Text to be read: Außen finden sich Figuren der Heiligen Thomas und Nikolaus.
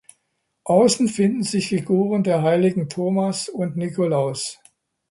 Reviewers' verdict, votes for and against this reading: accepted, 2, 0